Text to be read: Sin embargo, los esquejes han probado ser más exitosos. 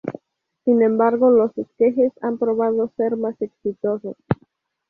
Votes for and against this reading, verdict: 2, 0, accepted